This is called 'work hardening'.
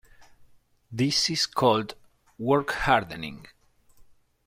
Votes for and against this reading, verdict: 2, 0, accepted